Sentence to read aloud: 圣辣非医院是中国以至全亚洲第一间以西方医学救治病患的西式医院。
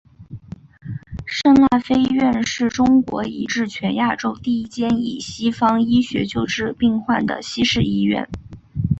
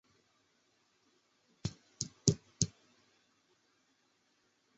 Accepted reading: first